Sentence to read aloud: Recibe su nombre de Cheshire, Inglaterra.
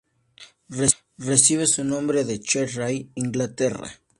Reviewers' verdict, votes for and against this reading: rejected, 0, 2